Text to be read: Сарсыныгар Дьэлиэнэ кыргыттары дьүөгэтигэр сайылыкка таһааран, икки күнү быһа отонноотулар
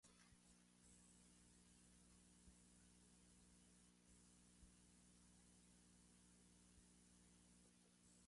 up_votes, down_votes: 0, 2